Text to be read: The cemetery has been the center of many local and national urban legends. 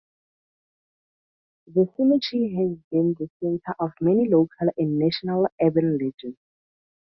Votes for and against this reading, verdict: 2, 0, accepted